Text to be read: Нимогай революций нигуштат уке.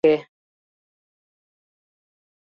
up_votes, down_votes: 0, 2